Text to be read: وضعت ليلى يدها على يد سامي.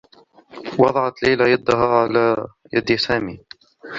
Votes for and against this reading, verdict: 2, 0, accepted